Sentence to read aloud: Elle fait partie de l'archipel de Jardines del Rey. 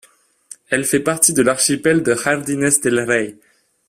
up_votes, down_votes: 2, 0